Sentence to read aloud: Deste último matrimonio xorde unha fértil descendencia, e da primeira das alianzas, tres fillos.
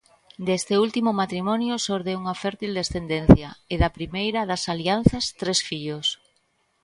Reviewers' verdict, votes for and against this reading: accepted, 2, 1